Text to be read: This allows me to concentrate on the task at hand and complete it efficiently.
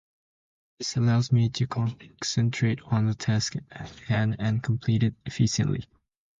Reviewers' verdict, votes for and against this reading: accepted, 2, 0